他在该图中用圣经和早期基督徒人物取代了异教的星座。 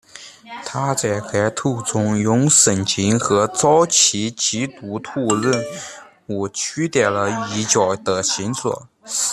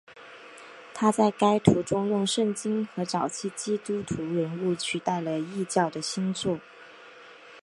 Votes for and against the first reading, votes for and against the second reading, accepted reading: 0, 2, 8, 1, second